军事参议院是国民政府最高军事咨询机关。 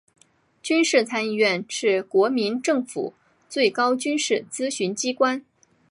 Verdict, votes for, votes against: accepted, 4, 0